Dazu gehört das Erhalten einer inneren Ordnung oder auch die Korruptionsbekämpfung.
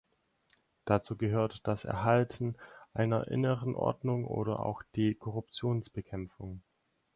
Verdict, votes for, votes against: accepted, 4, 0